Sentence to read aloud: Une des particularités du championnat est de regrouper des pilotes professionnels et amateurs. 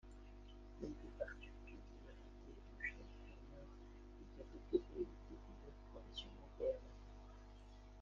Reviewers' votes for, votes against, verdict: 0, 2, rejected